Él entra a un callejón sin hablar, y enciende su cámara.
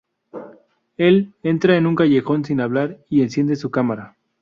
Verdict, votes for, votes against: rejected, 0, 2